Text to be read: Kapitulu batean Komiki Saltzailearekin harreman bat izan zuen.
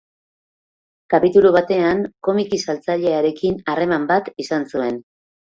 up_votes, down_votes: 2, 0